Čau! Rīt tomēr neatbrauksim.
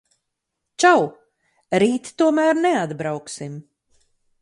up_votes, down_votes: 4, 0